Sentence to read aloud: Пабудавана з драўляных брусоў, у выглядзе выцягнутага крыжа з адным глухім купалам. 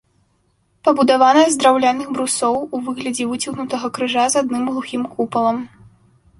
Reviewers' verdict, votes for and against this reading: accepted, 2, 0